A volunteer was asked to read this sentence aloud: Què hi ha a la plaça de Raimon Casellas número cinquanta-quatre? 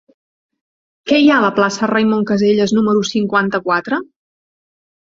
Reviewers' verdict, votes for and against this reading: rejected, 2, 3